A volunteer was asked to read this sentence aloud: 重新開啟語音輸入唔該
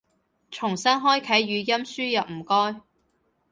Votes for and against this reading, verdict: 2, 0, accepted